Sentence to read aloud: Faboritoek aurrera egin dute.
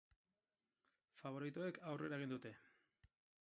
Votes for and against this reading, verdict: 0, 4, rejected